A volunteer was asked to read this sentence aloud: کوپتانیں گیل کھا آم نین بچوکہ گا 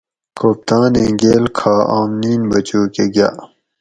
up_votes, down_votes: 4, 0